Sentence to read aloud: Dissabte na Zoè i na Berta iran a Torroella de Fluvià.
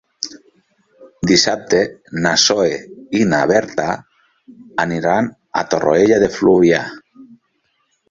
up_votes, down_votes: 1, 2